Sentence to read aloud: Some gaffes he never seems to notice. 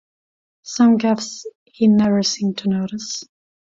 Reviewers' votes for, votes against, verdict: 0, 2, rejected